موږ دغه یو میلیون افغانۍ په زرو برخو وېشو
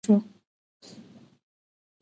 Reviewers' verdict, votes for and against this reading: rejected, 0, 2